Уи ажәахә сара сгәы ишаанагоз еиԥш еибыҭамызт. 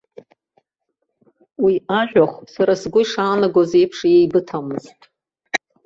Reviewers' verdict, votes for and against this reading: accepted, 2, 0